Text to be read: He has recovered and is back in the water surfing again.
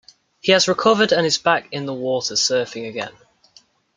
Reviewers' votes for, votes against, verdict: 2, 0, accepted